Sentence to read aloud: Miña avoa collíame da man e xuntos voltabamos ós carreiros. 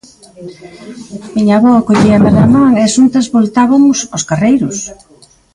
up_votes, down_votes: 0, 2